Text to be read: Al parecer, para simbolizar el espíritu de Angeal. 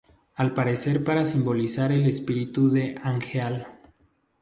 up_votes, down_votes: 2, 0